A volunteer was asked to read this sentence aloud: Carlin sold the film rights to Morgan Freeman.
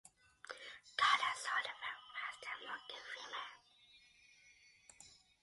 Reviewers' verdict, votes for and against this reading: accepted, 2, 1